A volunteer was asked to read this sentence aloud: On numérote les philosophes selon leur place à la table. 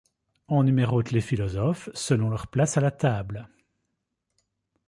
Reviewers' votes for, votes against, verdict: 2, 0, accepted